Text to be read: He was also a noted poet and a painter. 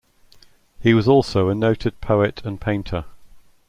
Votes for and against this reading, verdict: 0, 2, rejected